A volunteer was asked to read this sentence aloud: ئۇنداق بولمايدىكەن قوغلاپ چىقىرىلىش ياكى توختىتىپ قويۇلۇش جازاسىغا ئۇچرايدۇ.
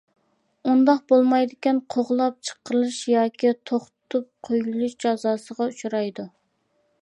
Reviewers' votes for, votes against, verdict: 2, 0, accepted